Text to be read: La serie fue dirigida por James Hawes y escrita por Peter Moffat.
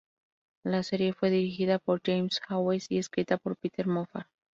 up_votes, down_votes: 0, 2